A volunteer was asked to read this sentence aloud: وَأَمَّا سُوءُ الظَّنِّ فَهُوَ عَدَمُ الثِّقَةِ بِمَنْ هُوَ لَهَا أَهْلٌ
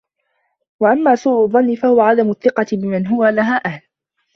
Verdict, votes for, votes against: rejected, 0, 2